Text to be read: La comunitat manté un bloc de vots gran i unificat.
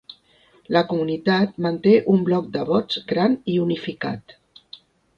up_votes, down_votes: 5, 0